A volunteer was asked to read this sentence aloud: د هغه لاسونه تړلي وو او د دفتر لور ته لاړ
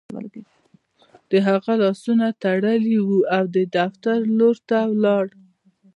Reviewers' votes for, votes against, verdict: 3, 1, accepted